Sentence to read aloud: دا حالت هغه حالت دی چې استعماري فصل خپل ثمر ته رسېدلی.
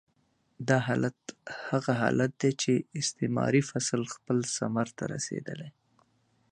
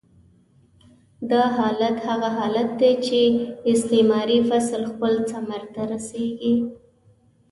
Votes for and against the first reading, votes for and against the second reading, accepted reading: 2, 0, 1, 2, first